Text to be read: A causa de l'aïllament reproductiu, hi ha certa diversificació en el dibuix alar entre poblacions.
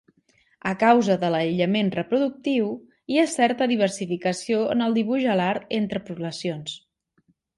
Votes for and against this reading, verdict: 2, 0, accepted